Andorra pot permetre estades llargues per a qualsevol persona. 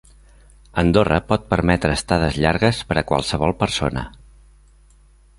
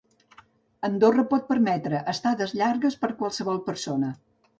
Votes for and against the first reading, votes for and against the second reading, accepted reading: 3, 0, 0, 2, first